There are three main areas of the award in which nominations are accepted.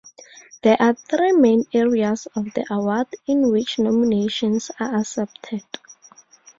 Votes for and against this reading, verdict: 4, 0, accepted